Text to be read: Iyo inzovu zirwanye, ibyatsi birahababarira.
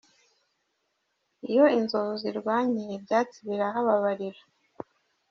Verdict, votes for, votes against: rejected, 1, 2